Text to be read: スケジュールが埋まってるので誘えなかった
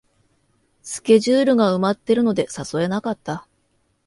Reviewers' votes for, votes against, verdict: 2, 0, accepted